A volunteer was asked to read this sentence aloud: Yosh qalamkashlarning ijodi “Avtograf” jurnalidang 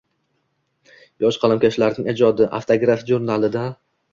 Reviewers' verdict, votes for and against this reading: accepted, 2, 0